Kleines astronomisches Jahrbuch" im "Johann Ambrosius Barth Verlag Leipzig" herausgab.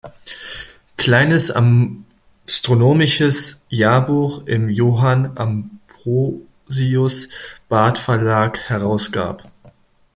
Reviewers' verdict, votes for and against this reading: rejected, 0, 2